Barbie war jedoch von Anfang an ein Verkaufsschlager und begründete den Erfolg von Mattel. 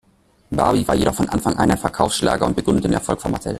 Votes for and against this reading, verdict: 0, 2, rejected